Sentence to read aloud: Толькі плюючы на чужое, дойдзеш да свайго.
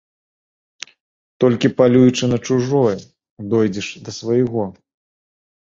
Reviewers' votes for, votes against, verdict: 0, 2, rejected